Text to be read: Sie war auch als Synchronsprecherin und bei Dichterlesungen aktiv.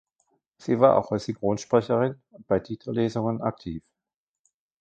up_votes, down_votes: 0, 2